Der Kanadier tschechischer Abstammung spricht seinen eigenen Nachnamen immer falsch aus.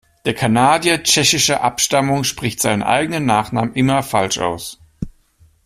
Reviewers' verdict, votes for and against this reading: accepted, 2, 0